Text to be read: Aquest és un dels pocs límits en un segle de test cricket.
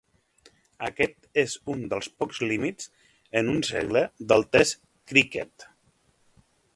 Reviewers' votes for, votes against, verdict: 1, 2, rejected